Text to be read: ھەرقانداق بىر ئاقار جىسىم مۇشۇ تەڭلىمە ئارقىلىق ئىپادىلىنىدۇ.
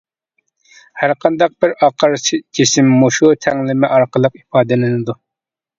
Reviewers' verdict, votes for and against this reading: accepted, 3, 2